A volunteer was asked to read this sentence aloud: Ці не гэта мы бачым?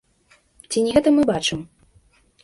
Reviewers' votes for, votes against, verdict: 2, 0, accepted